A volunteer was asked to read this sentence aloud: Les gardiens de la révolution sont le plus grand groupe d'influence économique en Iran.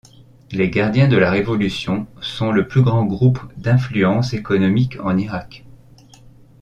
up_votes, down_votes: 0, 2